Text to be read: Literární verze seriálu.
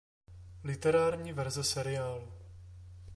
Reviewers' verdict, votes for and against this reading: accepted, 2, 0